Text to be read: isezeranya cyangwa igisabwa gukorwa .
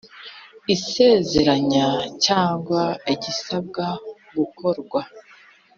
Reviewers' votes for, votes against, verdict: 4, 0, accepted